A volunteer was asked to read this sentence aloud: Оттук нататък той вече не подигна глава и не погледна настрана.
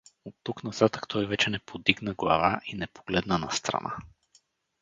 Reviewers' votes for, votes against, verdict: 2, 2, rejected